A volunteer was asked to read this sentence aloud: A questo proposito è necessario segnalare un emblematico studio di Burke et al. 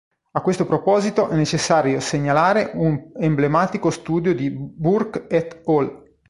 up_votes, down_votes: 2, 3